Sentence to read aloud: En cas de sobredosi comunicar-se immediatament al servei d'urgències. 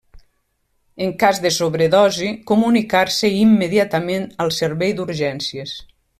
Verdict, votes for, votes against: accepted, 3, 0